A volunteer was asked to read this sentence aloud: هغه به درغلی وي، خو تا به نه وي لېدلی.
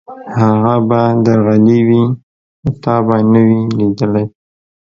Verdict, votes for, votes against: rejected, 0, 2